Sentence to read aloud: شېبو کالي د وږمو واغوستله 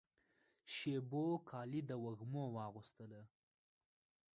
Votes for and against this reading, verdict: 0, 2, rejected